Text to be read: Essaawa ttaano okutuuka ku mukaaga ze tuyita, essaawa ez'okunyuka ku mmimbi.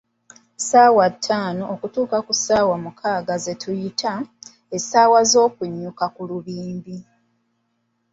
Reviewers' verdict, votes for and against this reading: rejected, 1, 2